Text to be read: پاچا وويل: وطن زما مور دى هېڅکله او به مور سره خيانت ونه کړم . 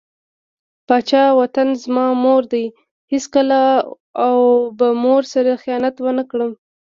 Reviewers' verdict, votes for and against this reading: rejected, 1, 2